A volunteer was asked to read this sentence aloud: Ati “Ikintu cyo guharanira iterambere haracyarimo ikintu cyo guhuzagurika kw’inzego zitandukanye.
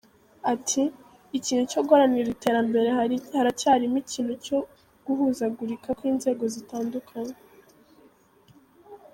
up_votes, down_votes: 1, 2